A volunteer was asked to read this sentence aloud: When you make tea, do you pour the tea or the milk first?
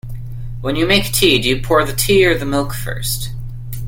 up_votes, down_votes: 2, 0